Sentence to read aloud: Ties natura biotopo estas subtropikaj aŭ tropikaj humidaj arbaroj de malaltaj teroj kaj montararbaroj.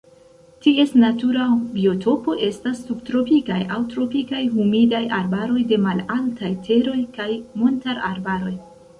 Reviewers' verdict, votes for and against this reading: rejected, 1, 2